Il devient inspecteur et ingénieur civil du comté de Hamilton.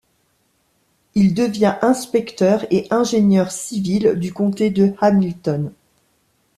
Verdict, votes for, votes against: accepted, 2, 0